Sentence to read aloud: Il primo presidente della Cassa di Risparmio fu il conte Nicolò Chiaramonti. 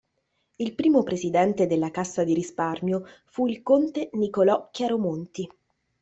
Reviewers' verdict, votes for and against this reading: rejected, 0, 2